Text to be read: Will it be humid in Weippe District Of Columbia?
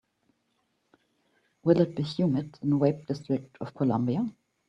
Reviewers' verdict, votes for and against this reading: accepted, 2, 1